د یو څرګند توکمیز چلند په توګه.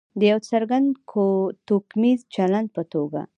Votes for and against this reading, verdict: 2, 0, accepted